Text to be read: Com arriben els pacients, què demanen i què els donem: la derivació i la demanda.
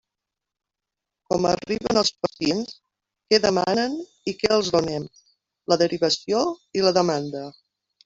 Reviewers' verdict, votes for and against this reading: rejected, 1, 2